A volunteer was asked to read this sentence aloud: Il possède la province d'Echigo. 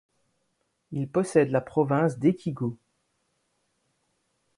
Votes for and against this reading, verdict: 0, 2, rejected